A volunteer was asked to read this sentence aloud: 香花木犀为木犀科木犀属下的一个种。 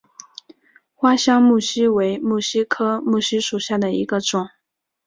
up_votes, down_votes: 2, 0